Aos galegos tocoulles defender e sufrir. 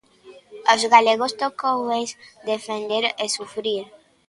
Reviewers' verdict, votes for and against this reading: rejected, 0, 2